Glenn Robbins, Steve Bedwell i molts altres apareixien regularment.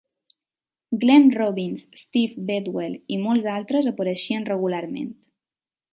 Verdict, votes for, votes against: accepted, 2, 0